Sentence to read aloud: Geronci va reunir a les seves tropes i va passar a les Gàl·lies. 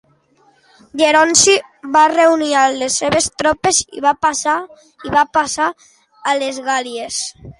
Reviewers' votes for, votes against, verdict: 0, 2, rejected